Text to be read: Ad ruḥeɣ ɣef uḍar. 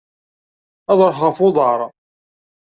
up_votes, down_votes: 2, 0